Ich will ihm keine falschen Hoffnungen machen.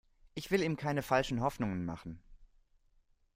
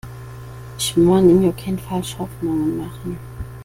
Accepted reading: first